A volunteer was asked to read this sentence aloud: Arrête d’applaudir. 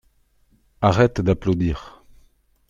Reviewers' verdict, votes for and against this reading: accepted, 2, 0